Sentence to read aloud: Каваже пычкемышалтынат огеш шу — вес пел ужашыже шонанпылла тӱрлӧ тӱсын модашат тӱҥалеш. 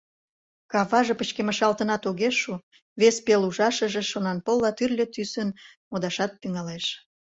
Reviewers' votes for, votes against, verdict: 2, 0, accepted